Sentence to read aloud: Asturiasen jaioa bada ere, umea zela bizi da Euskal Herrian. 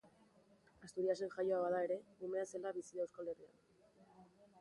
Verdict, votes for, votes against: accepted, 2, 0